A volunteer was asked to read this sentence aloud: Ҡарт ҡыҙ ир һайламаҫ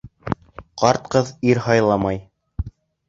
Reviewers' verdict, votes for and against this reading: rejected, 1, 2